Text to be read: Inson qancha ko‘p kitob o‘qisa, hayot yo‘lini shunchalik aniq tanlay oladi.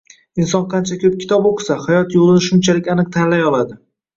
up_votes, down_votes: 2, 0